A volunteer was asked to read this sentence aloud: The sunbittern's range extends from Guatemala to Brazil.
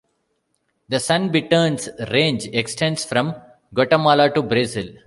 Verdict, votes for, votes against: rejected, 1, 2